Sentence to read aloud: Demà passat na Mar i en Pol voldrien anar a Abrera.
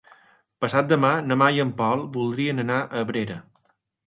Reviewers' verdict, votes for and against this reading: rejected, 1, 2